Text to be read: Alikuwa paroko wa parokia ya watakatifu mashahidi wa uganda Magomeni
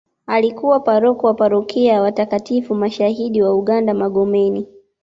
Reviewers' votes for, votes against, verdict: 2, 0, accepted